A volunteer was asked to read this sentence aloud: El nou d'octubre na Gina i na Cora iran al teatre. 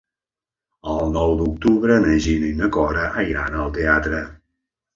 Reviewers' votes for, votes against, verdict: 1, 2, rejected